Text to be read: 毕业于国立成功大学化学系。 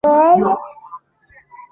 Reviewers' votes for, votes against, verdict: 0, 3, rejected